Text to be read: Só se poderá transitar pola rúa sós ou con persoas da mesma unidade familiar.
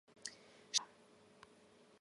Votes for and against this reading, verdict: 1, 2, rejected